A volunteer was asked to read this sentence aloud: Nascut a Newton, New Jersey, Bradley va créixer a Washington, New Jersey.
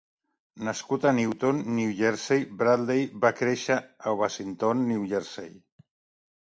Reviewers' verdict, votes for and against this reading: accepted, 3, 0